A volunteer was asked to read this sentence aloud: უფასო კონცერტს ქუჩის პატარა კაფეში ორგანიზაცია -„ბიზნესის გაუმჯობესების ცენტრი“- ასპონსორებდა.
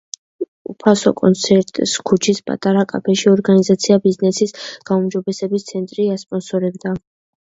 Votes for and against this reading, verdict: 2, 0, accepted